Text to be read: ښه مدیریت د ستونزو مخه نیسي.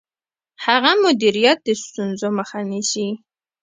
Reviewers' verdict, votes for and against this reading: rejected, 1, 2